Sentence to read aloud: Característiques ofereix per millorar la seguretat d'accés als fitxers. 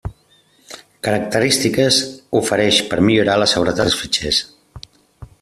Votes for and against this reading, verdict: 0, 2, rejected